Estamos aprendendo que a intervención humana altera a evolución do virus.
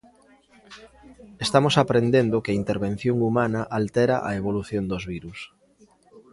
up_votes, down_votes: 0, 2